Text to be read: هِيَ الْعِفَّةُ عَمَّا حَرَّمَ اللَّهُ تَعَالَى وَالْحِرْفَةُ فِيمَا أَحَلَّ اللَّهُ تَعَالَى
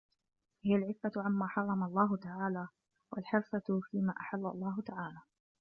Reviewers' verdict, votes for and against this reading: rejected, 1, 2